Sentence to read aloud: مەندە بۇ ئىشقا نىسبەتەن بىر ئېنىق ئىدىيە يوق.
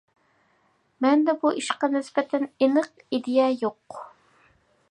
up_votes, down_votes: 0, 2